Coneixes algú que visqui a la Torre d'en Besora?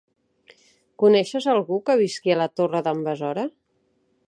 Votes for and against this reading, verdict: 3, 0, accepted